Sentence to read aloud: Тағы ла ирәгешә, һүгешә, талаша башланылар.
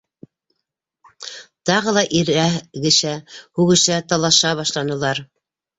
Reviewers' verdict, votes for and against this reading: rejected, 1, 2